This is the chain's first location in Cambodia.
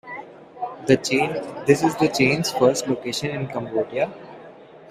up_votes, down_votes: 0, 2